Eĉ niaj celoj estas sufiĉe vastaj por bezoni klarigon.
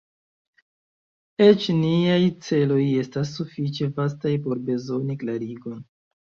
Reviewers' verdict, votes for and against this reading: rejected, 1, 2